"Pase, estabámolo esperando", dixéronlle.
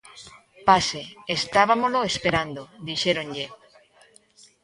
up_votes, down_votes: 0, 2